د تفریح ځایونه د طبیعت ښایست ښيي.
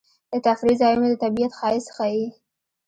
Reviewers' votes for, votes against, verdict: 2, 0, accepted